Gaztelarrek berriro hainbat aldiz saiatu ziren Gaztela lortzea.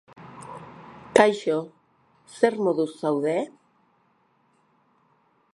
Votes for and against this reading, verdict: 0, 2, rejected